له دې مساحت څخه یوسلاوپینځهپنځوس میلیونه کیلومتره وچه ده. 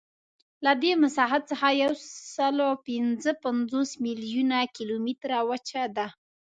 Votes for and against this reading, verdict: 2, 0, accepted